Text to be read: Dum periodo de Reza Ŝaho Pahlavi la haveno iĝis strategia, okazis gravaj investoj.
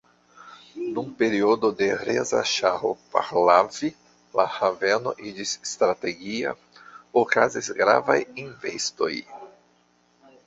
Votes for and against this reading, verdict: 1, 2, rejected